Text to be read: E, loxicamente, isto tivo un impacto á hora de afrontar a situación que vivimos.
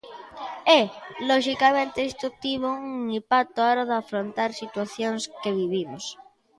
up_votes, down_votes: 0, 2